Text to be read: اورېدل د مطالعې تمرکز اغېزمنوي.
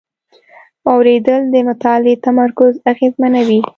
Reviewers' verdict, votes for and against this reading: accepted, 2, 0